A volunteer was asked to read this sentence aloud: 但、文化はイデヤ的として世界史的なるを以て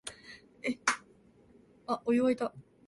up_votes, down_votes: 0, 2